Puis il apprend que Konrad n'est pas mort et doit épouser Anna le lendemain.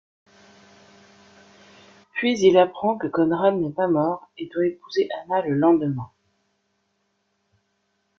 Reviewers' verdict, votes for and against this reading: accepted, 2, 1